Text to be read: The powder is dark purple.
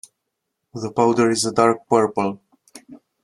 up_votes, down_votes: 0, 2